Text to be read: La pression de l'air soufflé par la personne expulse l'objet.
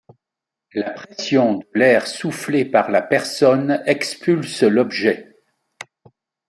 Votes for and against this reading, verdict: 2, 0, accepted